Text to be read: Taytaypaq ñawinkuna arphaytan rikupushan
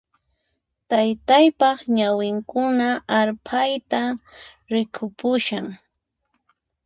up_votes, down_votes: 0, 4